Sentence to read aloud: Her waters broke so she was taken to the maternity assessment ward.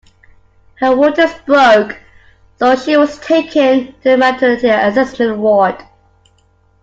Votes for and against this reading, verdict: 2, 1, accepted